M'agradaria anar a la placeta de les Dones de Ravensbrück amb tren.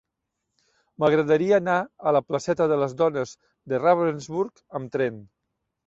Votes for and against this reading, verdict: 2, 0, accepted